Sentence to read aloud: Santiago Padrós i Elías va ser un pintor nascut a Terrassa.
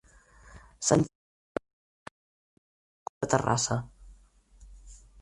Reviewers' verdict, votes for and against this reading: rejected, 0, 4